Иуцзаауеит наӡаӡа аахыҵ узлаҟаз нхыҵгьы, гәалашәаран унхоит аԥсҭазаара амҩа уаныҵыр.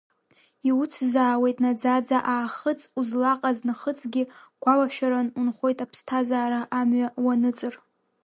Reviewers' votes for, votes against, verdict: 0, 2, rejected